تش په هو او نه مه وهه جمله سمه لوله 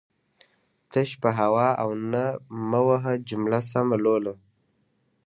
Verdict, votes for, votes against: accepted, 2, 1